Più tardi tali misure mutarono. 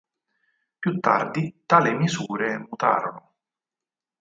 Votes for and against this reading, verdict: 4, 2, accepted